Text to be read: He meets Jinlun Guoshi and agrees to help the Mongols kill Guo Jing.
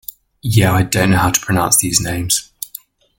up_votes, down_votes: 0, 2